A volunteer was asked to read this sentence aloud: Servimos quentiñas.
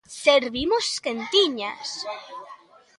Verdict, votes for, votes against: rejected, 1, 2